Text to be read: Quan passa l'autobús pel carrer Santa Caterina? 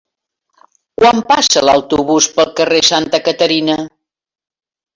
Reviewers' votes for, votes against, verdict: 4, 0, accepted